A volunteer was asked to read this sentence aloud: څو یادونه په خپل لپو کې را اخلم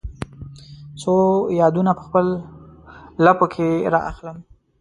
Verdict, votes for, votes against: rejected, 1, 2